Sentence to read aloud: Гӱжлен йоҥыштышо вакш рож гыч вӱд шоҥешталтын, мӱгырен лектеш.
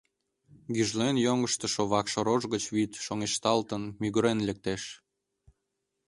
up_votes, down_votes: 2, 0